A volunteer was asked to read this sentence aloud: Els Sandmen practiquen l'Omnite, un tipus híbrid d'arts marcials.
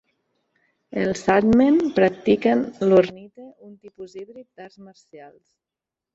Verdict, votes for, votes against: rejected, 1, 2